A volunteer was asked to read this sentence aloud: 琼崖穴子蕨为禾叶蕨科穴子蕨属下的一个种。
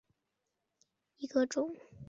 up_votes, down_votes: 0, 2